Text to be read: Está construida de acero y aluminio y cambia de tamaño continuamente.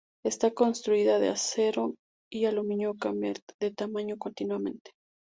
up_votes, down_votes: 2, 0